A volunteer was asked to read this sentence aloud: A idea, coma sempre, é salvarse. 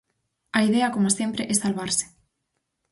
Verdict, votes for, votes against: accepted, 4, 0